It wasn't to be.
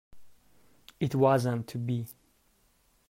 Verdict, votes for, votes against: rejected, 0, 2